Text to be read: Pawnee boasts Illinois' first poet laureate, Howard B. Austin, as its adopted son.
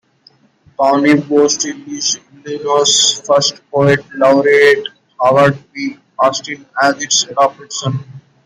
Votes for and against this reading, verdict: 1, 2, rejected